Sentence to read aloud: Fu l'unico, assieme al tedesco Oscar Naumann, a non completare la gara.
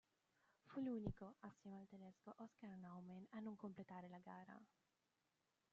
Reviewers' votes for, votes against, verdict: 0, 2, rejected